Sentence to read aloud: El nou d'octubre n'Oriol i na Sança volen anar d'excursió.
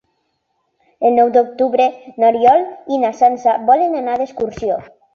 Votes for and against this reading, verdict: 3, 0, accepted